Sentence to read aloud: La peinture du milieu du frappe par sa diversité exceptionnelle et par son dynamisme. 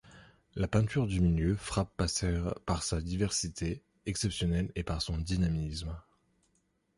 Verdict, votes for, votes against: rejected, 0, 2